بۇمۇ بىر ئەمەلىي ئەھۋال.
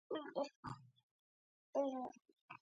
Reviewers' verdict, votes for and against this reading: rejected, 0, 2